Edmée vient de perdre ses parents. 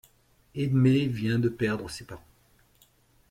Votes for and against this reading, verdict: 2, 0, accepted